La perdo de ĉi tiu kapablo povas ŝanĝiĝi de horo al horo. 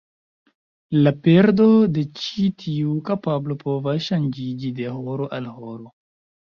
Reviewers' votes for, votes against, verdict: 1, 2, rejected